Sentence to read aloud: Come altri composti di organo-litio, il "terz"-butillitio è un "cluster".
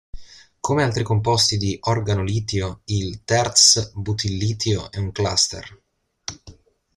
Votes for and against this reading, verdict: 2, 0, accepted